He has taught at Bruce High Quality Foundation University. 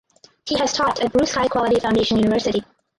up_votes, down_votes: 0, 2